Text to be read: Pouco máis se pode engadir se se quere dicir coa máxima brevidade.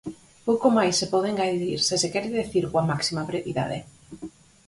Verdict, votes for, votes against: rejected, 2, 4